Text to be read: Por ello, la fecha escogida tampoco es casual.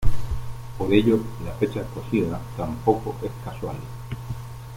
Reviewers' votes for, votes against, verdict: 2, 0, accepted